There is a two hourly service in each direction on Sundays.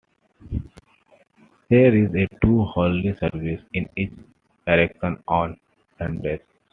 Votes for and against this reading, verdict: 2, 0, accepted